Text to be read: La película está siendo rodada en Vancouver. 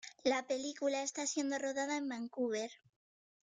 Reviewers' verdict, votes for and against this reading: accepted, 2, 1